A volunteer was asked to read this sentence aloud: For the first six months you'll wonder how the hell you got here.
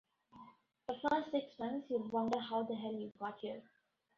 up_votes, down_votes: 1, 2